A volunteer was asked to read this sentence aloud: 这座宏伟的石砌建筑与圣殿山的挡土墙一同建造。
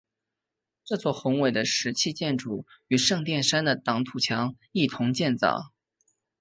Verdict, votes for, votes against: accepted, 2, 1